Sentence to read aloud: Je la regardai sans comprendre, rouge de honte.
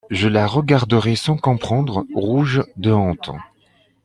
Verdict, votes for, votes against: rejected, 1, 2